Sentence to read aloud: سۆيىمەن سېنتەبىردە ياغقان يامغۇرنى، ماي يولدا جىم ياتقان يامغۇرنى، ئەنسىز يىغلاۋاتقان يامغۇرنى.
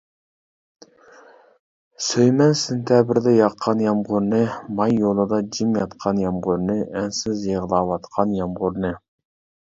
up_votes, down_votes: 1, 2